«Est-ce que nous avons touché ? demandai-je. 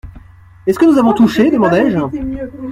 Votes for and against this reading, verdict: 1, 2, rejected